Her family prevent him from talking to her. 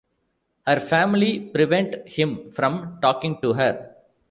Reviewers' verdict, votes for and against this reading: accepted, 2, 0